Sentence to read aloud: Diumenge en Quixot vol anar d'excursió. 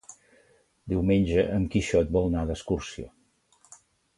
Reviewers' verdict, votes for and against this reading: rejected, 1, 2